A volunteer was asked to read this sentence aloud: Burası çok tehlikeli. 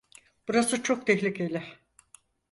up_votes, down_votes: 4, 2